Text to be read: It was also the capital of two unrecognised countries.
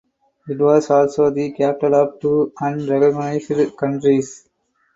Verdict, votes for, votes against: rejected, 2, 4